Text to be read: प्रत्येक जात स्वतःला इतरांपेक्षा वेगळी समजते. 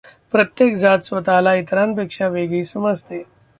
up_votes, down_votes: 2, 1